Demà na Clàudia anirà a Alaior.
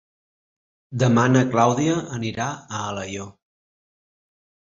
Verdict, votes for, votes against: accepted, 2, 0